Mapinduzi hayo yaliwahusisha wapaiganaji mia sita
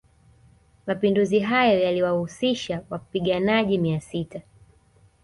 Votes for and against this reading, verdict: 2, 0, accepted